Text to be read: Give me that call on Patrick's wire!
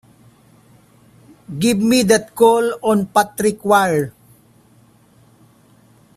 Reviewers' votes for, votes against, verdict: 1, 2, rejected